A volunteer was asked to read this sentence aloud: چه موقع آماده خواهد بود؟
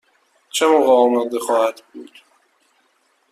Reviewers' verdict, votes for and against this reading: accepted, 2, 0